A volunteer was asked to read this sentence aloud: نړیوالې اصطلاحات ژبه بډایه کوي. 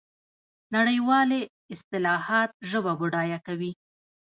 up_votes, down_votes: 1, 2